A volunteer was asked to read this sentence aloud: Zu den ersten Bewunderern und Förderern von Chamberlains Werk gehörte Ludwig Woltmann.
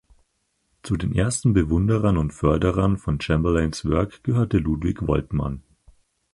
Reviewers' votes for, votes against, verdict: 4, 2, accepted